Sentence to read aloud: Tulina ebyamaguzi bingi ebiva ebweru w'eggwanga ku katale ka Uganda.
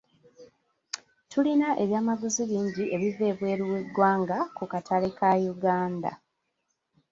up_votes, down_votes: 2, 1